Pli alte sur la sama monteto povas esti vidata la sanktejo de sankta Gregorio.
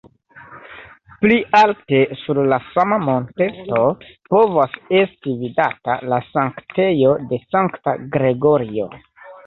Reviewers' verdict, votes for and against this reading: rejected, 1, 2